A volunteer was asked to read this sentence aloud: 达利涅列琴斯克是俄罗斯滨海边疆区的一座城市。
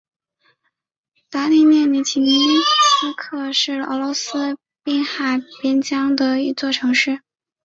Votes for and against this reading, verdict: 1, 2, rejected